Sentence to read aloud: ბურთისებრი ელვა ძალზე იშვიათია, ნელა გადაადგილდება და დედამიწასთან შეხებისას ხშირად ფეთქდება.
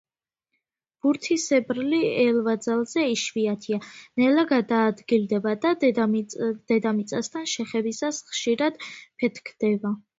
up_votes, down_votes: 0, 2